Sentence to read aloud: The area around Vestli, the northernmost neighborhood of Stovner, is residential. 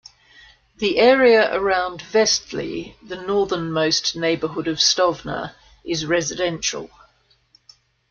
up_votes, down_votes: 2, 0